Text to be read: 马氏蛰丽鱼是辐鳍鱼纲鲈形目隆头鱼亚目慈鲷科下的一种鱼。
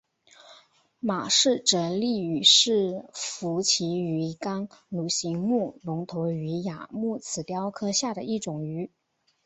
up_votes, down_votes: 4, 0